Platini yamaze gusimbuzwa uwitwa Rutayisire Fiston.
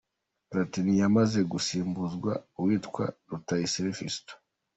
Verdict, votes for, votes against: accepted, 2, 1